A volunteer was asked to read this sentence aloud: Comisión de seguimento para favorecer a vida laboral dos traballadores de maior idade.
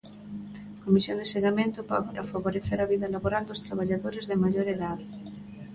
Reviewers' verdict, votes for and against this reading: rejected, 0, 2